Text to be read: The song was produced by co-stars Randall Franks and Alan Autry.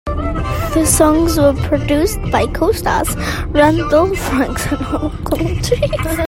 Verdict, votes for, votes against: rejected, 0, 2